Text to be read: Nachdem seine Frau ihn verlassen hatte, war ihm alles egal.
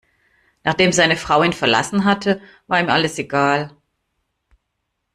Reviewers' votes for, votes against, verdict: 2, 0, accepted